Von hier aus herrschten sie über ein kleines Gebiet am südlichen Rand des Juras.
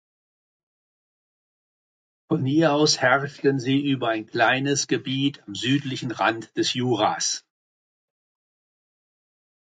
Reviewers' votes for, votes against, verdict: 1, 2, rejected